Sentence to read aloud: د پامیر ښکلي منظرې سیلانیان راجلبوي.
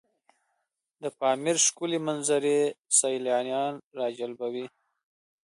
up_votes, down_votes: 2, 0